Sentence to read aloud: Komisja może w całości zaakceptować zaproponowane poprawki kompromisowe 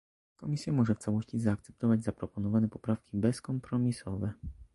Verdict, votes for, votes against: rejected, 0, 2